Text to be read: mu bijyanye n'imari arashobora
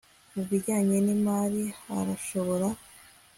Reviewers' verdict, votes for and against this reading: accepted, 3, 0